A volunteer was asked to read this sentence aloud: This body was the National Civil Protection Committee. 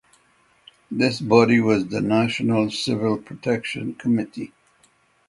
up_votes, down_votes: 6, 0